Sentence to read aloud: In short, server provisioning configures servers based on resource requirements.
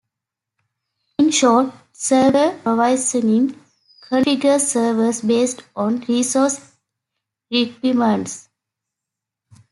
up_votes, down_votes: 0, 2